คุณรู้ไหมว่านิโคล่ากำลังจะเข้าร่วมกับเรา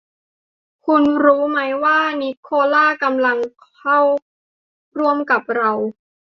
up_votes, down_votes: 0, 2